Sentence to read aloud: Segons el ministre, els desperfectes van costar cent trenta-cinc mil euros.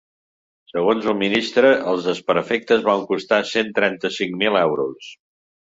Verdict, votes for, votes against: accepted, 3, 0